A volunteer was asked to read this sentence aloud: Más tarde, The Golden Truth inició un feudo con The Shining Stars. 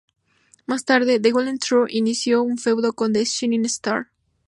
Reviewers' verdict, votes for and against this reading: accepted, 2, 0